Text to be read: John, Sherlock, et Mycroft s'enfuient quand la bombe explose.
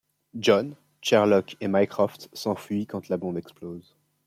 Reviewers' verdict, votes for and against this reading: accepted, 2, 0